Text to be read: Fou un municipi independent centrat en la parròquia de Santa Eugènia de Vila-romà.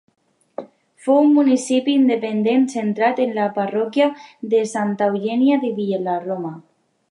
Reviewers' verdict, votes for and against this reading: rejected, 1, 2